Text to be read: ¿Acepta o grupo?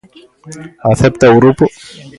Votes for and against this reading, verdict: 2, 0, accepted